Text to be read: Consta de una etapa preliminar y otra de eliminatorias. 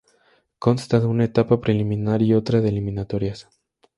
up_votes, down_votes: 2, 0